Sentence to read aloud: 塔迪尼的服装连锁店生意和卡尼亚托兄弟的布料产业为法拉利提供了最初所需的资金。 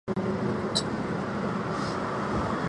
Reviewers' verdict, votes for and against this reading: rejected, 0, 4